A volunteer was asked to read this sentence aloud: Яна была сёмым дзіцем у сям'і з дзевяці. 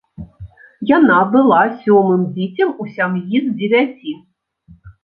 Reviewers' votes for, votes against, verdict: 0, 2, rejected